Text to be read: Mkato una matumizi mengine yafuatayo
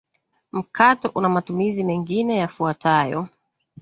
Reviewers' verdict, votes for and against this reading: accepted, 2, 0